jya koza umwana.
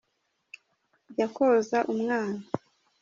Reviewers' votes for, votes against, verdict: 2, 1, accepted